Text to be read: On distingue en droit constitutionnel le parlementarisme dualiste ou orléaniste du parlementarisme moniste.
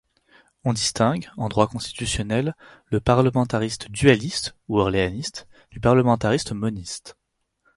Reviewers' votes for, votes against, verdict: 2, 4, rejected